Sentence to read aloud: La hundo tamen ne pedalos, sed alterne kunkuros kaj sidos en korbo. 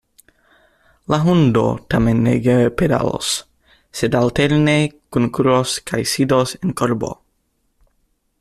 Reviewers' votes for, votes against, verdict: 0, 2, rejected